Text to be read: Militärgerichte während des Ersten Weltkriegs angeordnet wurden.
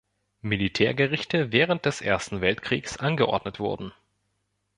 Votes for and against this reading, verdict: 2, 0, accepted